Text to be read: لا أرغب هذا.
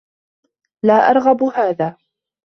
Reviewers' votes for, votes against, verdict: 2, 0, accepted